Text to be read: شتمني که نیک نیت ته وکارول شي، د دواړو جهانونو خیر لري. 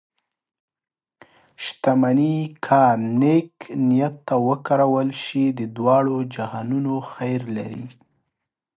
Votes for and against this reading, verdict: 2, 1, accepted